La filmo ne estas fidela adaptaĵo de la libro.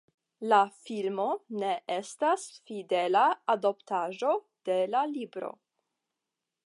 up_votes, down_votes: 0, 5